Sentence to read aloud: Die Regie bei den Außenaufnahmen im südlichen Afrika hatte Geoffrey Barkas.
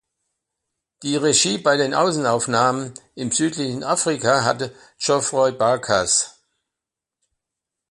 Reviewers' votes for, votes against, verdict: 2, 1, accepted